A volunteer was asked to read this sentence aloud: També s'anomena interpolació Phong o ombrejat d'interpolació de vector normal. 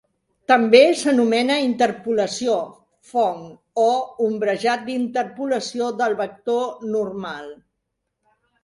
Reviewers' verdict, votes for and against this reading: rejected, 2, 3